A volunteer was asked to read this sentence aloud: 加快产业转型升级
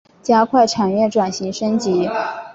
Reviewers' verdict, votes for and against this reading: accepted, 6, 0